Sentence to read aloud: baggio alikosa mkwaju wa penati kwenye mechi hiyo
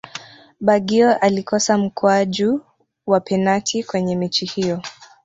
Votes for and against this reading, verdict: 1, 2, rejected